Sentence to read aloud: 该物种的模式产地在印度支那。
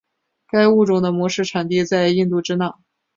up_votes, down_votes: 2, 0